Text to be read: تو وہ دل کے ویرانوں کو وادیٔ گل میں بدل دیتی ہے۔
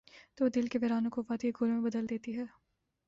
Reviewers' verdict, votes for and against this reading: rejected, 1, 2